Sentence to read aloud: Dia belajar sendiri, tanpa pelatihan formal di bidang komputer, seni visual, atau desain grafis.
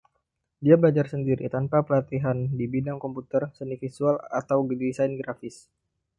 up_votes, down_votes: 0, 2